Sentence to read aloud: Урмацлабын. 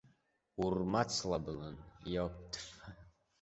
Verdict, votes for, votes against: rejected, 0, 2